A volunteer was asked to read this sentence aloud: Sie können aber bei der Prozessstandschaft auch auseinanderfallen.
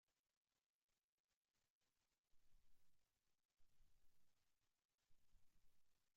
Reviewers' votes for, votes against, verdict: 0, 3, rejected